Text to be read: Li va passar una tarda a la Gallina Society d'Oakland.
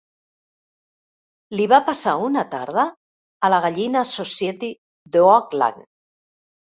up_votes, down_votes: 3, 1